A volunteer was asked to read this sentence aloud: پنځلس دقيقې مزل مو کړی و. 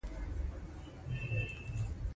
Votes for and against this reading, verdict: 0, 2, rejected